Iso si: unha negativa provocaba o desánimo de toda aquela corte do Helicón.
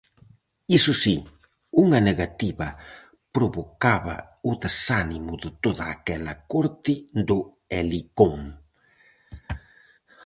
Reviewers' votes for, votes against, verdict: 4, 0, accepted